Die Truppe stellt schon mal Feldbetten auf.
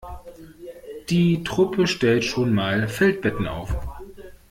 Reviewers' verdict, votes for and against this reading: accepted, 2, 0